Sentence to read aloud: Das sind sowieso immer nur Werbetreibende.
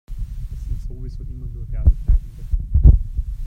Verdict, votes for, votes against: rejected, 1, 2